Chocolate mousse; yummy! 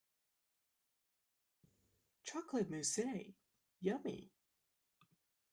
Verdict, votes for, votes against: rejected, 0, 2